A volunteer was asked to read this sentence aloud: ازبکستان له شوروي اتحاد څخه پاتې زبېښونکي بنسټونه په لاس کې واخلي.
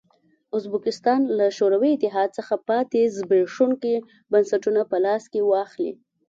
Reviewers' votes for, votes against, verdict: 2, 0, accepted